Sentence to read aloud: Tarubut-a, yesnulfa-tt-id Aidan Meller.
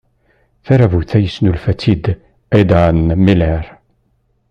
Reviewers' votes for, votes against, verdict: 1, 2, rejected